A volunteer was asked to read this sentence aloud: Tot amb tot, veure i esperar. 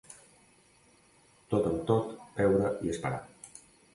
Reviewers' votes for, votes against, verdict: 2, 0, accepted